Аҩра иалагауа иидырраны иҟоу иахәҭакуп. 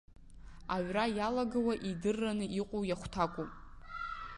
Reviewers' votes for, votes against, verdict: 1, 2, rejected